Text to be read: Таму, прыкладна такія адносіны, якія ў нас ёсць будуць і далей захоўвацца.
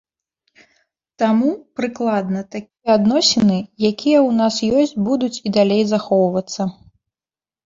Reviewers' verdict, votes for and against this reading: rejected, 0, 2